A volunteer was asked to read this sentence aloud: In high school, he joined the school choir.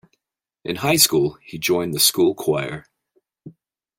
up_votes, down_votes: 2, 0